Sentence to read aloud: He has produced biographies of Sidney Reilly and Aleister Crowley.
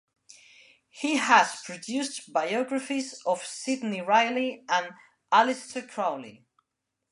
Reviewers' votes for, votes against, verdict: 2, 0, accepted